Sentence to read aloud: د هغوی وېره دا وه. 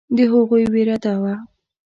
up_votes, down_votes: 2, 0